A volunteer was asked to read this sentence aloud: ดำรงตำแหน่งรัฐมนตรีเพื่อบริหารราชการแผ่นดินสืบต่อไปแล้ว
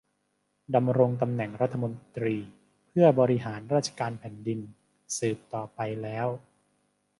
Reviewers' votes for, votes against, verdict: 2, 0, accepted